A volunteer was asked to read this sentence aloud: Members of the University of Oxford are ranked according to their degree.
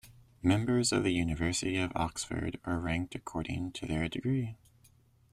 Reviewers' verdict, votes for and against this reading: accepted, 2, 0